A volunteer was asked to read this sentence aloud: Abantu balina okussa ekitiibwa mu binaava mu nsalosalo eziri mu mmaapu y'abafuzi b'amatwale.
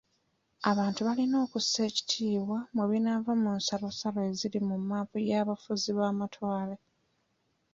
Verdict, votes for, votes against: accepted, 2, 0